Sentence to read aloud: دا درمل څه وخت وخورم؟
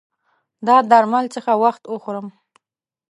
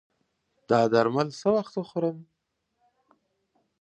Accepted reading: second